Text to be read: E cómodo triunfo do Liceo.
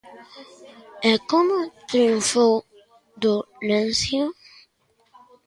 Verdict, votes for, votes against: rejected, 0, 2